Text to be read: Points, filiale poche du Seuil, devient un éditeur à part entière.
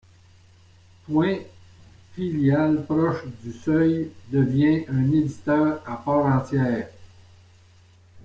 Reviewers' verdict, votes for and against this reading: rejected, 1, 2